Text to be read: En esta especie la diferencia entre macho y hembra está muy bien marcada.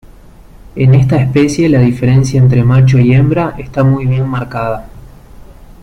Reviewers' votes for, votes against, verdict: 2, 0, accepted